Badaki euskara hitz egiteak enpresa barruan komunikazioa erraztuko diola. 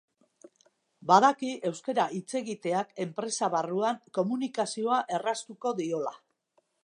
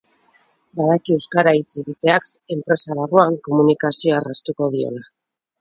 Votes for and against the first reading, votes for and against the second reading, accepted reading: 2, 1, 2, 4, first